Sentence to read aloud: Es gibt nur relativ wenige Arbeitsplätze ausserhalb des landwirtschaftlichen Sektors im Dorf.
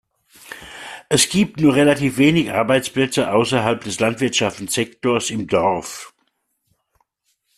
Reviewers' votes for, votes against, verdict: 1, 2, rejected